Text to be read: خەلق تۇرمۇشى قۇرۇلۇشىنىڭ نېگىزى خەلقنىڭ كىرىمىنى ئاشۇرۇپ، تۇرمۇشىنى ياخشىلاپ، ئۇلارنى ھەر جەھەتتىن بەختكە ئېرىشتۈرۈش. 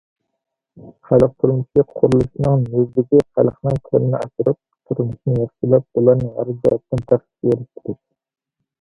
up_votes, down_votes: 1, 2